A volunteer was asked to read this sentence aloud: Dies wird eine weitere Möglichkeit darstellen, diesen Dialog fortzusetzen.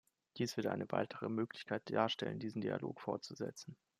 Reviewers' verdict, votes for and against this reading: accepted, 2, 0